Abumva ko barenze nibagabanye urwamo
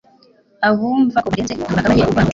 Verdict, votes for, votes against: rejected, 1, 2